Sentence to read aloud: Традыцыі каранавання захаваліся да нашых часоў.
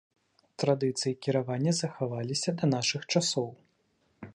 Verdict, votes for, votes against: rejected, 1, 2